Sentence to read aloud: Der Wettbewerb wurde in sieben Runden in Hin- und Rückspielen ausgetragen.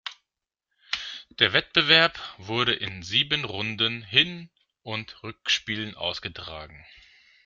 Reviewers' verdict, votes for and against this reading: rejected, 0, 2